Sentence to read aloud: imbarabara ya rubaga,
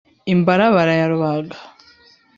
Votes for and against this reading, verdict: 3, 0, accepted